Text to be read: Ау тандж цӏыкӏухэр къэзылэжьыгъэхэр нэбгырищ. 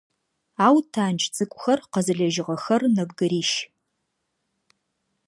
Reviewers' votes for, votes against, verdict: 2, 0, accepted